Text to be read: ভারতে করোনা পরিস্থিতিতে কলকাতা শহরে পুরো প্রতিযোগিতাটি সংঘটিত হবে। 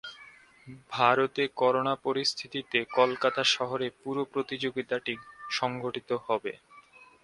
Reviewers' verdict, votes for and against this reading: accepted, 2, 0